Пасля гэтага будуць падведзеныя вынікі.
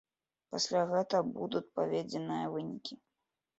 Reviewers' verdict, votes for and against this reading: rejected, 1, 2